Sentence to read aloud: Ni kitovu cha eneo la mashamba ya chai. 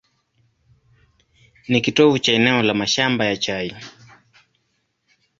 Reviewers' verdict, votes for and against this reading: accepted, 2, 0